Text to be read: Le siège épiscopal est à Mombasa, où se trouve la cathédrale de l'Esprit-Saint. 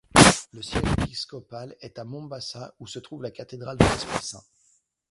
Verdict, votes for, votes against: rejected, 0, 2